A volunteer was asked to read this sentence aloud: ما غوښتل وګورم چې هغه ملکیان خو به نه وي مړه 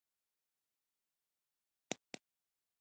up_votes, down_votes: 0, 2